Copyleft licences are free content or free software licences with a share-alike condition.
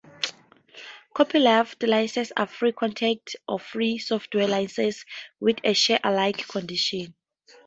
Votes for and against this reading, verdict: 0, 2, rejected